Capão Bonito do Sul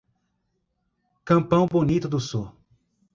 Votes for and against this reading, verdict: 1, 2, rejected